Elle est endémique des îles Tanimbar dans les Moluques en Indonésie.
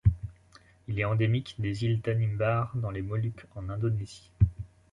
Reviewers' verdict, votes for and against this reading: rejected, 1, 2